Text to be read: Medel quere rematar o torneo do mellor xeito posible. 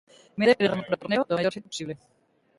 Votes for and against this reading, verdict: 0, 2, rejected